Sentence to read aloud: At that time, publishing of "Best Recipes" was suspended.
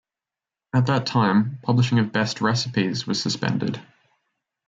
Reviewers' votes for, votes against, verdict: 0, 2, rejected